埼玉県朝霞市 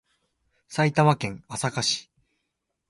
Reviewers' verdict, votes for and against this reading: accepted, 2, 0